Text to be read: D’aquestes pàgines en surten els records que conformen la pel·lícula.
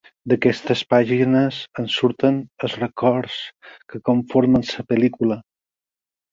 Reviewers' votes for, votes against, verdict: 0, 4, rejected